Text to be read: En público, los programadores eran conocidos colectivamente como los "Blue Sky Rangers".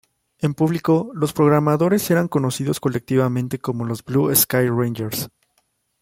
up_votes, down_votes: 0, 2